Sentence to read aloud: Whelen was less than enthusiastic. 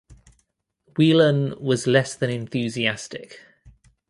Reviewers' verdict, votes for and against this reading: accepted, 2, 0